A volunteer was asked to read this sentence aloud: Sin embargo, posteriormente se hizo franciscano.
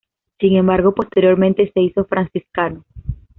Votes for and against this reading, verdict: 2, 0, accepted